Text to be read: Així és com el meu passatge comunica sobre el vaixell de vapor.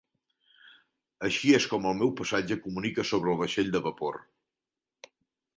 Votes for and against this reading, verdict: 2, 0, accepted